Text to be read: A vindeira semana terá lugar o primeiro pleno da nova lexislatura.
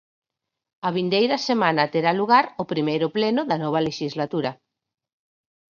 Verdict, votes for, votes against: accepted, 4, 0